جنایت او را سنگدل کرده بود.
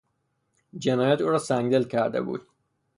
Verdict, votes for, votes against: rejected, 0, 3